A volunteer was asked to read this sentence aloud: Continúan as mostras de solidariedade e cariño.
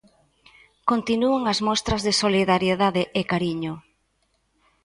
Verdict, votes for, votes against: accepted, 2, 0